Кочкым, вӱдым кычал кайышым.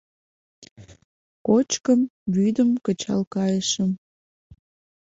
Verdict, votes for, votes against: accepted, 2, 0